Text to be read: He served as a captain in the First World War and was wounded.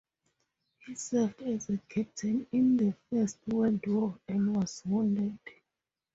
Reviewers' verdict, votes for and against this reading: rejected, 2, 4